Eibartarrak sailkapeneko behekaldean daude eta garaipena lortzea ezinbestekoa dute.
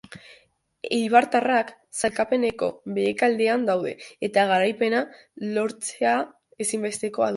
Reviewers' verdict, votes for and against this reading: rejected, 0, 2